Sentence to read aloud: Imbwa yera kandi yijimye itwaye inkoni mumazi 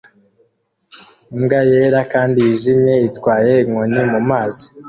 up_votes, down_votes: 2, 0